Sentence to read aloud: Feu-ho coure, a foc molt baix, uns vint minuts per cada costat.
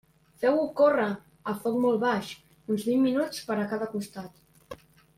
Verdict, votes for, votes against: rejected, 1, 2